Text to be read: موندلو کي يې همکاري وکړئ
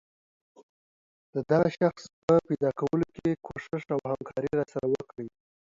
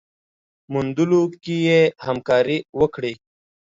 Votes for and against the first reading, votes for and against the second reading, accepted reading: 0, 2, 2, 0, second